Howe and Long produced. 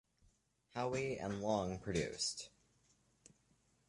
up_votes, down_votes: 2, 1